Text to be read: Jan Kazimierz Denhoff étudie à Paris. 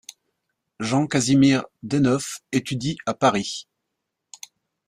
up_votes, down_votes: 1, 2